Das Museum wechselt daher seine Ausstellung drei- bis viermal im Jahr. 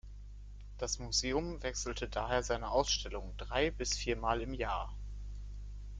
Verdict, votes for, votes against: rejected, 1, 2